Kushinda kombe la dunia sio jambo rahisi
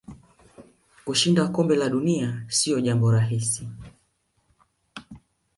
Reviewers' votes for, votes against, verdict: 0, 2, rejected